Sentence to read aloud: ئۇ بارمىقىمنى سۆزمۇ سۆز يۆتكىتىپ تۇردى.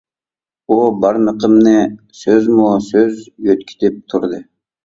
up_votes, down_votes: 2, 0